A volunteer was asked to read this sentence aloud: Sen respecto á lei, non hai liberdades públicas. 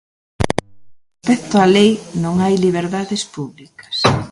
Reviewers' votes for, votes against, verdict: 0, 2, rejected